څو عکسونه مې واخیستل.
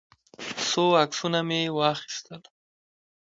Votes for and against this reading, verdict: 1, 2, rejected